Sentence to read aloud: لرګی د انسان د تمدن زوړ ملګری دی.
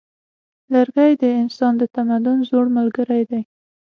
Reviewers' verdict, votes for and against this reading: accepted, 6, 0